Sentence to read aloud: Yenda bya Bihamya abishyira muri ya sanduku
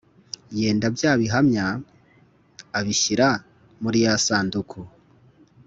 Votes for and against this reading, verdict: 2, 0, accepted